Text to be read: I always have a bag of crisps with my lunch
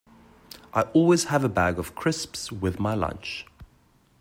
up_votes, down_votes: 2, 0